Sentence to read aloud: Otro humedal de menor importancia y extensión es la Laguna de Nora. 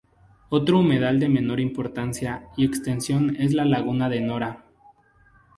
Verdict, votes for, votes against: accepted, 2, 0